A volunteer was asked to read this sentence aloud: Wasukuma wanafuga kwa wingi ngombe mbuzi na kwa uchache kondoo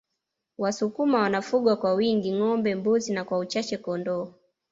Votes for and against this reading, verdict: 2, 0, accepted